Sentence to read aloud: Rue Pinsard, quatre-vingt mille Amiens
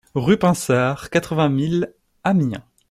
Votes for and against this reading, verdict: 2, 0, accepted